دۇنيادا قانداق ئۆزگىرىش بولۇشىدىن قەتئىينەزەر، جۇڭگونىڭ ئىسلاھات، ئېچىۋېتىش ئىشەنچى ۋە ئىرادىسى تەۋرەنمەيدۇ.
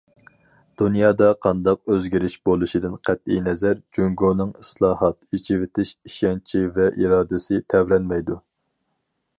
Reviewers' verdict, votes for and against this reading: accepted, 4, 0